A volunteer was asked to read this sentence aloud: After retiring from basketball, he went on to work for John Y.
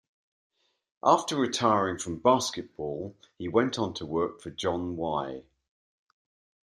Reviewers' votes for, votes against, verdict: 2, 0, accepted